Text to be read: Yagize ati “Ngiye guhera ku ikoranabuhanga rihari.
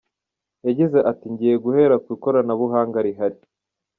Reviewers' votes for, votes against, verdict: 1, 2, rejected